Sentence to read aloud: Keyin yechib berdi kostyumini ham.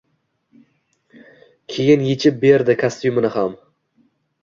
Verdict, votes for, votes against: accepted, 2, 0